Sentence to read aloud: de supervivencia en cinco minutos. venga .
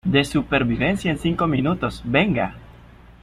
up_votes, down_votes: 2, 0